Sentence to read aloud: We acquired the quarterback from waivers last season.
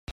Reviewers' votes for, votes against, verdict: 0, 2, rejected